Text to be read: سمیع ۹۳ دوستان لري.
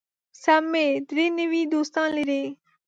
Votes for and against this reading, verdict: 0, 2, rejected